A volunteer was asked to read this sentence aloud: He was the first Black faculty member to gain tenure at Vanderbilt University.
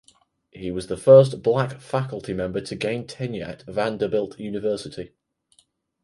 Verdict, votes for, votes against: accepted, 4, 0